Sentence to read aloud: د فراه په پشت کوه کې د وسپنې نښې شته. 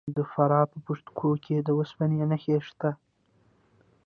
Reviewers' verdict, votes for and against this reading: rejected, 1, 2